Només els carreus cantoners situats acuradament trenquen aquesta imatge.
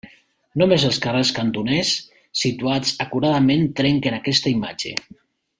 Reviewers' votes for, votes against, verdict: 1, 2, rejected